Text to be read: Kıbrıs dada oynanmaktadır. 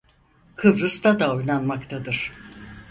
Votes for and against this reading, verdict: 2, 4, rejected